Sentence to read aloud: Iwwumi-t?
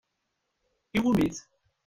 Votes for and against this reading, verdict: 1, 2, rejected